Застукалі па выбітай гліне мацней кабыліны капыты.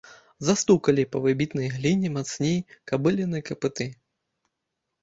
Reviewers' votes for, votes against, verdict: 1, 2, rejected